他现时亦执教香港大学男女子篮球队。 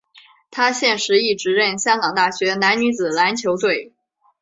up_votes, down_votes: 2, 0